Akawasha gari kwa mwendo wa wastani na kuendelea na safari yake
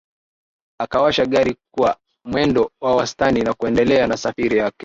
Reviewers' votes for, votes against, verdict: 1, 2, rejected